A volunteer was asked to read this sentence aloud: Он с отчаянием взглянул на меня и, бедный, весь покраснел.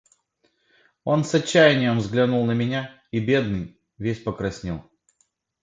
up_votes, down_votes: 2, 0